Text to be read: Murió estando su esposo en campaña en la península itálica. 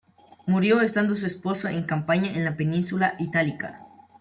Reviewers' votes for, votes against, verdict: 1, 2, rejected